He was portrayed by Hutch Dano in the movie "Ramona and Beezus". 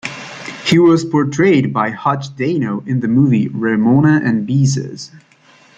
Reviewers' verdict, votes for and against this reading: accepted, 2, 0